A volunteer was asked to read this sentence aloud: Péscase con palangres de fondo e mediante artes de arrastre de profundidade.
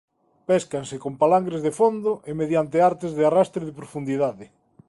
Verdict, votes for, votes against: rejected, 1, 2